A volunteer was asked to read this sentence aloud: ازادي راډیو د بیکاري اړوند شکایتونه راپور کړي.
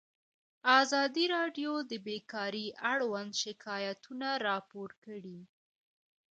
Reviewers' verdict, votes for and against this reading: rejected, 1, 2